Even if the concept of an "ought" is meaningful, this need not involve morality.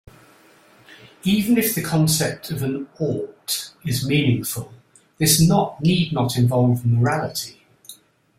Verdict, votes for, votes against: rejected, 1, 2